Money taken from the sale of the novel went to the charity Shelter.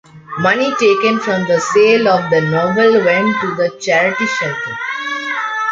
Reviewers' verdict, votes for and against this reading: accepted, 2, 1